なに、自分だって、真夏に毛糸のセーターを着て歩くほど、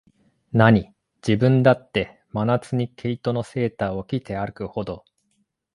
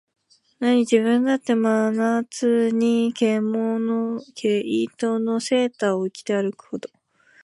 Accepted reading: first